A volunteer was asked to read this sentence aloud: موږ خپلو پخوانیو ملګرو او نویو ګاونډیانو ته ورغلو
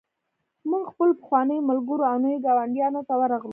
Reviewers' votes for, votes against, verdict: 0, 2, rejected